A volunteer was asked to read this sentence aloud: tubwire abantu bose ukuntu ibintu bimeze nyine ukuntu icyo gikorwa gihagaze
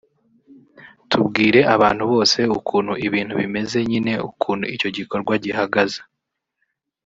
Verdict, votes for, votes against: rejected, 1, 2